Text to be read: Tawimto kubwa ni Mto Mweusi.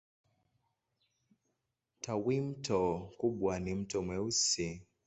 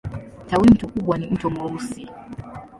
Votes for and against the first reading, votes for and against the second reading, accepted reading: 2, 2, 2, 1, second